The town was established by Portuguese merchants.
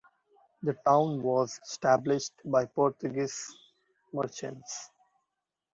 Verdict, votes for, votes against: accepted, 2, 0